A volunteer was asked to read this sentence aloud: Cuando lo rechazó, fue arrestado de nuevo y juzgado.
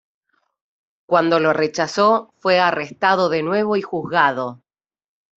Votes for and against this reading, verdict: 2, 0, accepted